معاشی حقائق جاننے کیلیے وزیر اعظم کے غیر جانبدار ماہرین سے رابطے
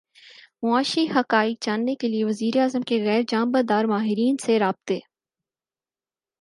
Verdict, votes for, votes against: accepted, 4, 0